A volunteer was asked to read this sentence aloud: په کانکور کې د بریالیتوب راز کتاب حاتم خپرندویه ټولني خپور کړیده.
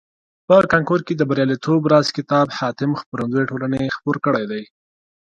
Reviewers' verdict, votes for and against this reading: accepted, 2, 0